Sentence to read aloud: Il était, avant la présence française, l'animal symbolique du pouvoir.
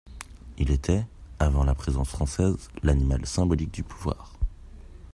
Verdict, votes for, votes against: accepted, 3, 0